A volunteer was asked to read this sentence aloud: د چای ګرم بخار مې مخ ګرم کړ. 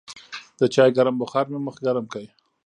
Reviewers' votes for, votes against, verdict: 0, 2, rejected